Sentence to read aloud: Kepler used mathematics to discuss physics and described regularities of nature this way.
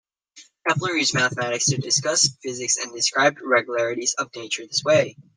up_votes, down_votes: 0, 2